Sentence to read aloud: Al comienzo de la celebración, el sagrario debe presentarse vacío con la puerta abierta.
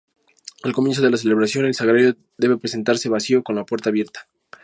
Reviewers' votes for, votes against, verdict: 2, 0, accepted